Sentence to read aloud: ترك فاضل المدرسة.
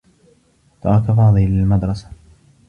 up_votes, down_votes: 0, 2